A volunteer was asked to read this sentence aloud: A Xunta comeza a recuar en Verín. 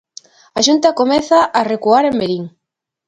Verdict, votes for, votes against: accepted, 2, 0